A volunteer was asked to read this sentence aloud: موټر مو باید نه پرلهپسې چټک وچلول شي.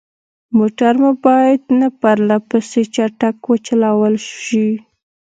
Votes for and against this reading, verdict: 2, 0, accepted